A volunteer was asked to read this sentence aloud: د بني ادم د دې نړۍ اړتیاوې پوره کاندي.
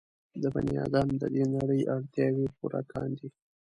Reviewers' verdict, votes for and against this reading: rejected, 0, 2